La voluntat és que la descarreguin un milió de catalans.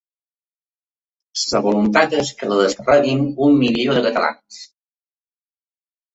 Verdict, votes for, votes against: rejected, 0, 2